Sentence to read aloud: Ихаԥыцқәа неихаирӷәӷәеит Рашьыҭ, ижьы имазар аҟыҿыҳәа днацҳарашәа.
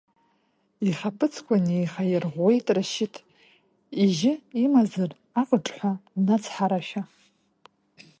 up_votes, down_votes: 0, 2